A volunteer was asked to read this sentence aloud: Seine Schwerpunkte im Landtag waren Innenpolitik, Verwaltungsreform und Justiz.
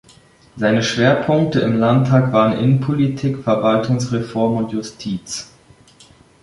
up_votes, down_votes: 2, 0